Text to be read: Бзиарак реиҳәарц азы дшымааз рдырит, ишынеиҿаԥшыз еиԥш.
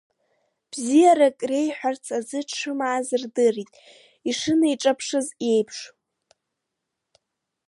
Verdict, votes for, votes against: accepted, 2, 0